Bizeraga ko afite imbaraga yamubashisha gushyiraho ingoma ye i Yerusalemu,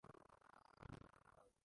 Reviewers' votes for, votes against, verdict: 0, 2, rejected